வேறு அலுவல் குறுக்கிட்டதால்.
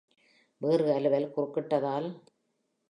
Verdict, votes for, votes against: accepted, 3, 0